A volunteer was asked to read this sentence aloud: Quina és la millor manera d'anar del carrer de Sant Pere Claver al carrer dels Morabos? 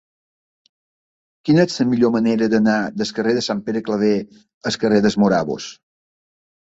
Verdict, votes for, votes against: rejected, 1, 2